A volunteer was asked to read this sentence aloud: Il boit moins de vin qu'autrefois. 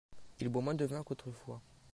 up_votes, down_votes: 2, 0